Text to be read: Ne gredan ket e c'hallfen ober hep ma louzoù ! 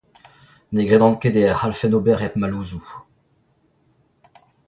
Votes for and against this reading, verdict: 1, 2, rejected